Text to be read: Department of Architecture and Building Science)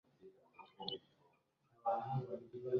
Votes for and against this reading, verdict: 0, 2, rejected